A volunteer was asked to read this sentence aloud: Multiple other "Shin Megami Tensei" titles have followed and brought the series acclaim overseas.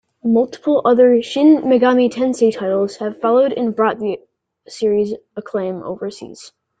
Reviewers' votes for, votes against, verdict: 2, 0, accepted